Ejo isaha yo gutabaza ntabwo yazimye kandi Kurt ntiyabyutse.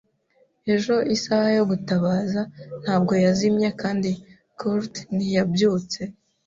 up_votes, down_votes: 2, 0